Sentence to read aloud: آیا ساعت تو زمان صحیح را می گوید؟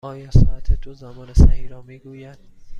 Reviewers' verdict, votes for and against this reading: accepted, 2, 0